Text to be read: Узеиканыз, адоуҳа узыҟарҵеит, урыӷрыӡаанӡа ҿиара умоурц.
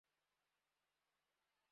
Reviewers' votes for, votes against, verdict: 0, 2, rejected